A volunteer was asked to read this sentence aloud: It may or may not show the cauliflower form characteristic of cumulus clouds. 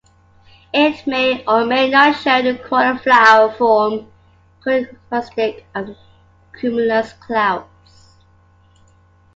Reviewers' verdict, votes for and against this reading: rejected, 0, 2